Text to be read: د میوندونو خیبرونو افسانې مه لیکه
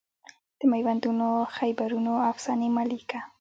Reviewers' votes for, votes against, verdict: 1, 2, rejected